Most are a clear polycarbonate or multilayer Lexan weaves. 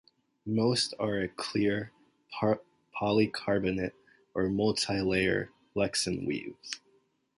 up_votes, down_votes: 0, 2